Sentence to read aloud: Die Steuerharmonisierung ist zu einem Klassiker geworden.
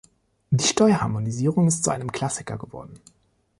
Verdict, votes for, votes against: accepted, 2, 0